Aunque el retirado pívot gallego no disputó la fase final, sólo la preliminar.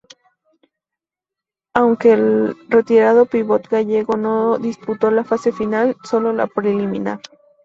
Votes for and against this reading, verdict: 2, 0, accepted